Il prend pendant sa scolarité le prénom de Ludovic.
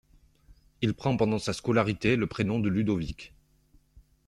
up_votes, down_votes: 2, 0